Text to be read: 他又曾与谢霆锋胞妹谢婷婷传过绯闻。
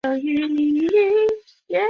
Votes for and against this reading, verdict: 0, 3, rejected